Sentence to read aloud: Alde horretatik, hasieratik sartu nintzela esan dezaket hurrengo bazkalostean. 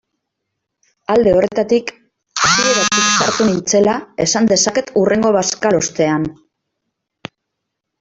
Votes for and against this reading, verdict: 0, 2, rejected